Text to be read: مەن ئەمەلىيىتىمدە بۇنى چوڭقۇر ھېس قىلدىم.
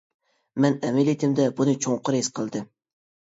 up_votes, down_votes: 2, 0